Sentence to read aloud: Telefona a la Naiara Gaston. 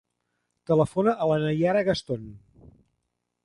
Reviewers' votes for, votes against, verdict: 3, 0, accepted